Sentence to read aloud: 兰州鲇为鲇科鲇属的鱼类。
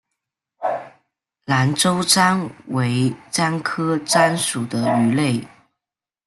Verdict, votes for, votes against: rejected, 0, 2